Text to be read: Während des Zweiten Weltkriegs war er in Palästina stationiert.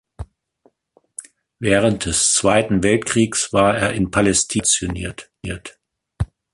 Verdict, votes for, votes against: rejected, 0, 2